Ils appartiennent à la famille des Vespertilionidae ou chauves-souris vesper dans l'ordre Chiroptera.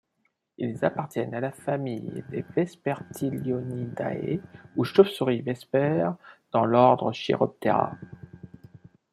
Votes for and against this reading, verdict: 2, 0, accepted